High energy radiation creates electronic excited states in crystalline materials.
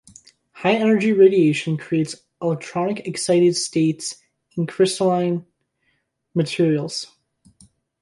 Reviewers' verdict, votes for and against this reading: accepted, 2, 1